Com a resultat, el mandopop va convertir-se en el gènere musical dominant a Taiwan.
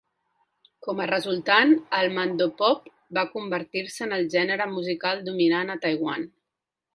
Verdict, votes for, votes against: rejected, 1, 2